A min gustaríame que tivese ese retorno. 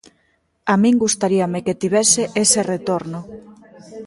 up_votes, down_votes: 0, 2